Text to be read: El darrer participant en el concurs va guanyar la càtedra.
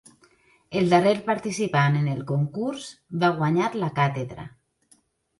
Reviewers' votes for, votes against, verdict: 3, 1, accepted